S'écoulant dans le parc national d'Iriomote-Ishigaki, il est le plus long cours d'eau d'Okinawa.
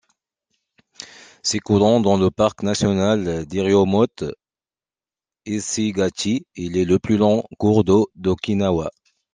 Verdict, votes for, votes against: accepted, 2, 1